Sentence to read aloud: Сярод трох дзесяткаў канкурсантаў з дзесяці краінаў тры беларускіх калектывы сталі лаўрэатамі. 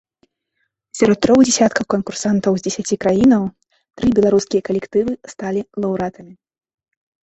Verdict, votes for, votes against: rejected, 1, 2